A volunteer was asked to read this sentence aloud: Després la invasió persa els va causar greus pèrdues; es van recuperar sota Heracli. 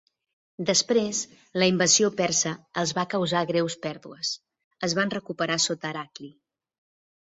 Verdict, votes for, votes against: accepted, 5, 0